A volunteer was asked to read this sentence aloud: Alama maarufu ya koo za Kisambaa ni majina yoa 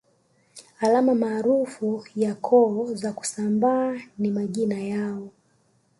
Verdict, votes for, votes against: rejected, 1, 2